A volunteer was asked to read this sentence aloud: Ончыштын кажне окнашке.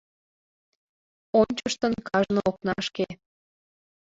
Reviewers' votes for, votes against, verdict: 2, 1, accepted